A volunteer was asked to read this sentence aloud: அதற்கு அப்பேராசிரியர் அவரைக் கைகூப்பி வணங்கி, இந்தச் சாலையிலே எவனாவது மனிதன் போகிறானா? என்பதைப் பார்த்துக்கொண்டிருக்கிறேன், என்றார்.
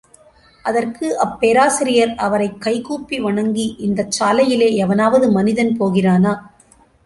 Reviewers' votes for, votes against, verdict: 0, 2, rejected